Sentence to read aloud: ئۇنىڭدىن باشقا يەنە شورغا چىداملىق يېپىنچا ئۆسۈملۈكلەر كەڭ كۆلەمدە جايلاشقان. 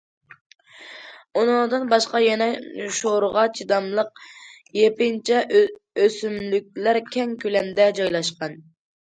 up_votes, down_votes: 1, 2